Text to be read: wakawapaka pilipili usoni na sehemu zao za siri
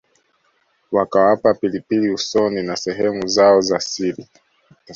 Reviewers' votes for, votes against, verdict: 2, 1, accepted